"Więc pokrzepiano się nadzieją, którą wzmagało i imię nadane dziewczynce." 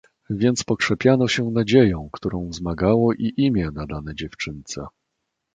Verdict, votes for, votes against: accepted, 2, 0